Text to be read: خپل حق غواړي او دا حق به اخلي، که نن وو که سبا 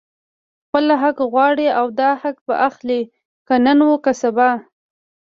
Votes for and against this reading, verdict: 1, 2, rejected